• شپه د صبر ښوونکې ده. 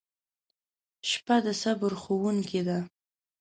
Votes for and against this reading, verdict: 2, 0, accepted